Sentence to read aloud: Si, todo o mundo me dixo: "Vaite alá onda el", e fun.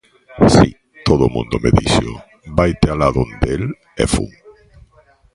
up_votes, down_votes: 0, 2